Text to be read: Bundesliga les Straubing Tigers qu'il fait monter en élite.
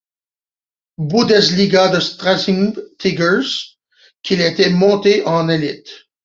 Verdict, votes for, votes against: rejected, 0, 2